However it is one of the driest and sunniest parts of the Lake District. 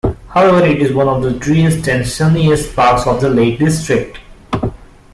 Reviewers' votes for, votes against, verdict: 2, 0, accepted